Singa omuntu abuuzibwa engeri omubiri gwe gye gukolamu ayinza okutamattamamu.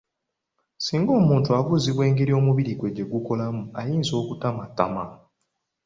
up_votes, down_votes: 2, 1